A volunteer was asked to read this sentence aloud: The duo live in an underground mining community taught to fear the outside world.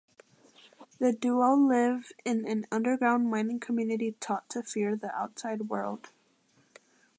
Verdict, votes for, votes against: accepted, 2, 0